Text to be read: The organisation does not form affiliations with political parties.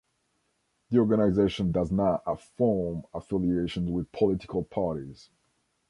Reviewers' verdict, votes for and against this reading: rejected, 1, 2